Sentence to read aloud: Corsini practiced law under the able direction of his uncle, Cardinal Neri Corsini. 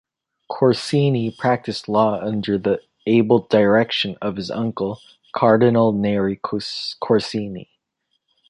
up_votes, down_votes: 0, 2